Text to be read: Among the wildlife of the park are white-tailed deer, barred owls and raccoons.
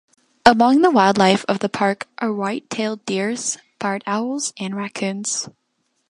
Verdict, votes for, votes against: rejected, 1, 2